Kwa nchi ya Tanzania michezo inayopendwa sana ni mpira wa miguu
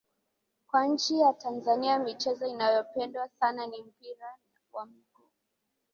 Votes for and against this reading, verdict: 0, 2, rejected